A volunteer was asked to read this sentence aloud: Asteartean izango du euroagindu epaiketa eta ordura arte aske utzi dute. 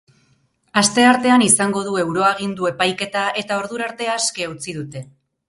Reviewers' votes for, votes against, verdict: 4, 0, accepted